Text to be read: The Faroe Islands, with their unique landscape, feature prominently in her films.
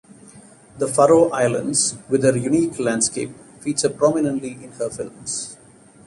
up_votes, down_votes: 2, 0